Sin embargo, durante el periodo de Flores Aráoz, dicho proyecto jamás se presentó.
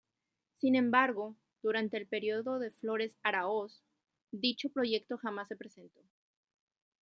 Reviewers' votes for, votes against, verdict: 0, 2, rejected